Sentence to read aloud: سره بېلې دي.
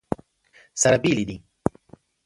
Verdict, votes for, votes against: accepted, 2, 0